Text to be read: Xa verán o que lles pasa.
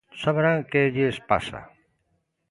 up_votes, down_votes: 0, 2